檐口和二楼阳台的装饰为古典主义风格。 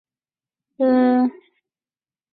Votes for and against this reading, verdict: 0, 2, rejected